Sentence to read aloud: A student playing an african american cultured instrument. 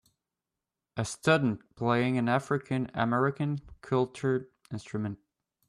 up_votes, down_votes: 2, 0